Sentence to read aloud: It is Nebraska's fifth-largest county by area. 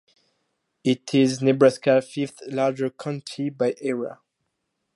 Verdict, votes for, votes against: rejected, 0, 2